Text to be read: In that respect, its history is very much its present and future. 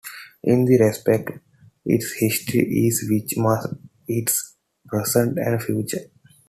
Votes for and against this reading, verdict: 2, 1, accepted